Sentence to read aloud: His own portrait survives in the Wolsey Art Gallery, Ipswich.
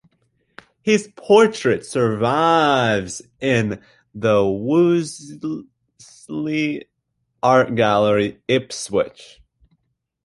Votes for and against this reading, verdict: 0, 2, rejected